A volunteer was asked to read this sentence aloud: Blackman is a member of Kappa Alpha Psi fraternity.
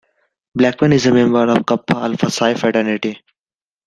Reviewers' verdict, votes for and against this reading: accepted, 2, 1